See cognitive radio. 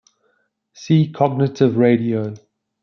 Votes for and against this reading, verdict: 2, 0, accepted